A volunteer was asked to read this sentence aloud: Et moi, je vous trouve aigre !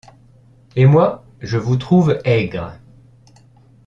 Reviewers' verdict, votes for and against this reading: accepted, 2, 0